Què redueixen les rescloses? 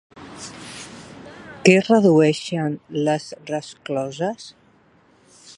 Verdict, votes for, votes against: rejected, 0, 2